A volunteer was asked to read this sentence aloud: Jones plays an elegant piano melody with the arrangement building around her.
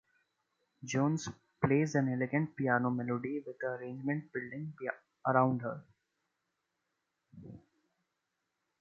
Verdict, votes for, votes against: accepted, 2, 0